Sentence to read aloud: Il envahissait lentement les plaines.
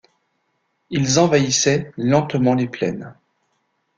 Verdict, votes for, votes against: rejected, 0, 2